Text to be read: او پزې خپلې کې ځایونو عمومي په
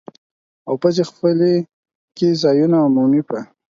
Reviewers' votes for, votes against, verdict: 4, 2, accepted